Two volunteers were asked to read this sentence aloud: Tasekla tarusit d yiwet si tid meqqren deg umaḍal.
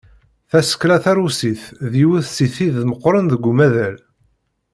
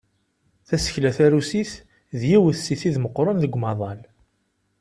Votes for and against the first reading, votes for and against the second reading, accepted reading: 1, 2, 2, 0, second